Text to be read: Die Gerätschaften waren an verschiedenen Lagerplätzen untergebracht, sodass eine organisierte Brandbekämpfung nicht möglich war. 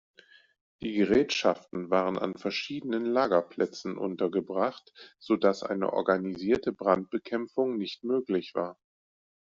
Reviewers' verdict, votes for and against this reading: accepted, 2, 0